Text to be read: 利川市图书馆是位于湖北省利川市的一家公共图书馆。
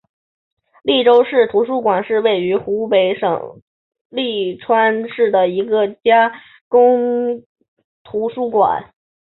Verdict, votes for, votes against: rejected, 0, 3